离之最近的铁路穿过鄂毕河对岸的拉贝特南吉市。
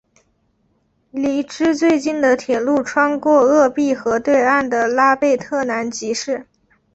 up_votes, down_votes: 5, 0